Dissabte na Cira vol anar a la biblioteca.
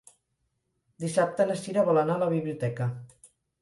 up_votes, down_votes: 2, 4